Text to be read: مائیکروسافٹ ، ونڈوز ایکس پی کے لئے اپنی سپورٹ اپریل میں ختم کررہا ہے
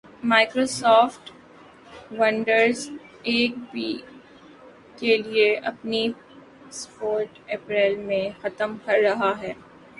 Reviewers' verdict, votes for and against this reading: rejected, 0, 2